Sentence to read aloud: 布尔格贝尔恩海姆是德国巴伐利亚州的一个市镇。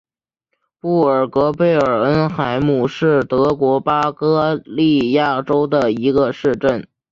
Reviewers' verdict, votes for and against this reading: accepted, 3, 1